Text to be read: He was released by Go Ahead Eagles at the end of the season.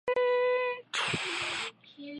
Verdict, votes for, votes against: rejected, 0, 2